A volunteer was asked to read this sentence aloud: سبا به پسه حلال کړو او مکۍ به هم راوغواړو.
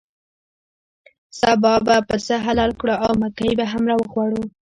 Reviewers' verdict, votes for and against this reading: rejected, 0, 2